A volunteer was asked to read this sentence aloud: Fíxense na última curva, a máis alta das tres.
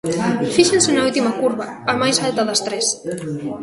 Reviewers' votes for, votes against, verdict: 1, 2, rejected